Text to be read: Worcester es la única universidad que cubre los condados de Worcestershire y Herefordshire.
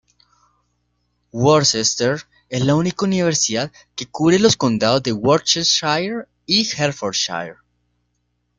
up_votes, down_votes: 2, 0